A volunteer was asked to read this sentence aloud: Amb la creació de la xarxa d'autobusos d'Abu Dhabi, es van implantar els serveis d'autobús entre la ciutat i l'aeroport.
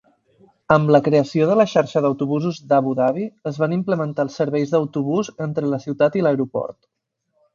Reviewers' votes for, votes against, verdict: 0, 4, rejected